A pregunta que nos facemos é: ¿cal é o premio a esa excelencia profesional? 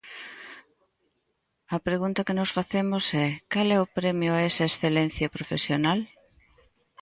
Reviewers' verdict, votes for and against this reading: accepted, 2, 0